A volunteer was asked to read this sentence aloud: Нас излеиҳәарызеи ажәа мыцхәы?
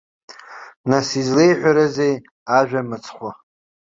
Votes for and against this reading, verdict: 2, 0, accepted